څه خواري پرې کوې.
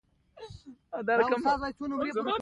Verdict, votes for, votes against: accepted, 2, 0